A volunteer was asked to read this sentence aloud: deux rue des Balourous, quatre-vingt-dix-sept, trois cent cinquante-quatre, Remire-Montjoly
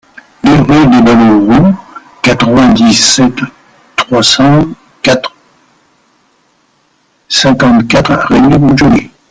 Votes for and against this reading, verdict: 0, 2, rejected